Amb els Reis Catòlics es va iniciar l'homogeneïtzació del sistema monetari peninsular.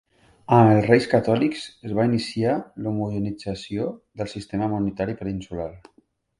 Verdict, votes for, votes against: rejected, 1, 2